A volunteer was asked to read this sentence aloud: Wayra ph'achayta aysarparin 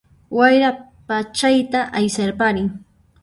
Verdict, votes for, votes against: rejected, 0, 2